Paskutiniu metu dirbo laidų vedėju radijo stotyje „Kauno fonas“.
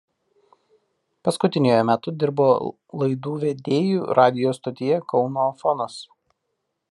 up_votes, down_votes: 1, 2